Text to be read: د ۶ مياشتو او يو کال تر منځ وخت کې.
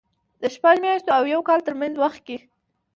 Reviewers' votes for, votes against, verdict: 0, 2, rejected